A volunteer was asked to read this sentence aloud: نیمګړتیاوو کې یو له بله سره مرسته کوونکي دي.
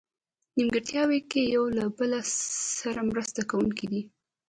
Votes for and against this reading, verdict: 0, 2, rejected